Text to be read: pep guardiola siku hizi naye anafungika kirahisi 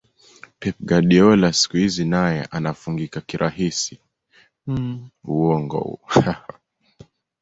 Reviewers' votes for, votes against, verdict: 1, 2, rejected